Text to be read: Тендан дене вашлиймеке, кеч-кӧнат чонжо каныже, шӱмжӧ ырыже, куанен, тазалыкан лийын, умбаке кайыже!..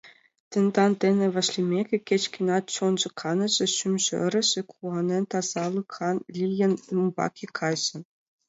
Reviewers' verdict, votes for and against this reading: accepted, 2, 0